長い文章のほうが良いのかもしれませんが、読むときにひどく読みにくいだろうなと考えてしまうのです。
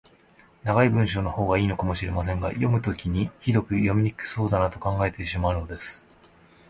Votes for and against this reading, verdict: 1, 2, rejected